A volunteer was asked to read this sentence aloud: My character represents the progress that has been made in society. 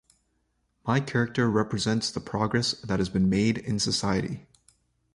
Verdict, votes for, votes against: accepted, 2, 0